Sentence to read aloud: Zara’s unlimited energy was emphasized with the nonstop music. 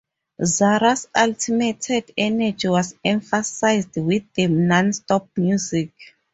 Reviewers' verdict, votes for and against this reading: rejected, 0, 2